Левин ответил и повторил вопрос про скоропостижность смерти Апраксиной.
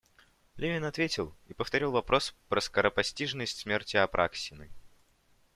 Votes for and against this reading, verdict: 2, 0, accepted